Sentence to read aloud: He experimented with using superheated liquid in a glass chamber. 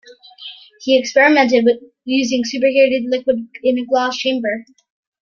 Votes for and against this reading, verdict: 2, 1, accepted